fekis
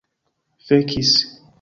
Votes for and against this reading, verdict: 2, 0, accepted